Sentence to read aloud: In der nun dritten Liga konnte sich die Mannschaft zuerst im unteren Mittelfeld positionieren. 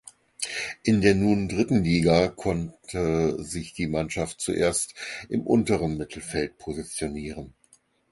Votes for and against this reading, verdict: 4, 0, accepted